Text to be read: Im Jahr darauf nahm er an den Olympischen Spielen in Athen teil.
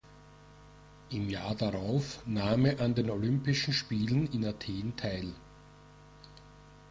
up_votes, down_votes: 2, 0